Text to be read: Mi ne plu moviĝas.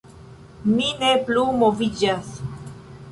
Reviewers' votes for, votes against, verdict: 2, 0, accepted